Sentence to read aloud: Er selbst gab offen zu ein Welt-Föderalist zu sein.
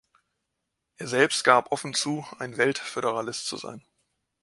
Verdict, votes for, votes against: accepted, 2, 0